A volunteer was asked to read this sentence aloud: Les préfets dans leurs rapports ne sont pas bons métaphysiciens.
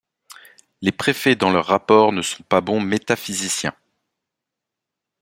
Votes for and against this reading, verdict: 2, 0, accepted